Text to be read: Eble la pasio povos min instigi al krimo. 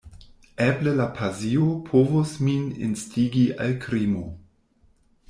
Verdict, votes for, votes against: rejected, 1, 2